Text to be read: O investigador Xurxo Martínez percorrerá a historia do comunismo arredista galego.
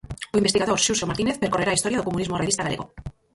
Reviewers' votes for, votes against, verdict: 0, 4, rejected